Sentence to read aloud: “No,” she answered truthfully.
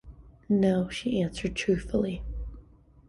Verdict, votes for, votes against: accepted, 2, 0